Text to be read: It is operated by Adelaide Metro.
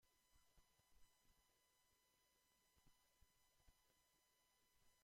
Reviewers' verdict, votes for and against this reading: rejected, 0, 2